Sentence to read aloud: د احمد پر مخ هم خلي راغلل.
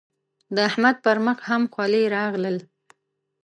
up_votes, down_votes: 2, 0